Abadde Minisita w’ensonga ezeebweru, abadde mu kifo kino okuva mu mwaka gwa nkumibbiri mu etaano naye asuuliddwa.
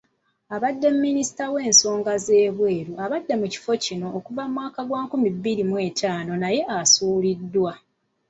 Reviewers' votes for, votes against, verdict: 0, 2, rejected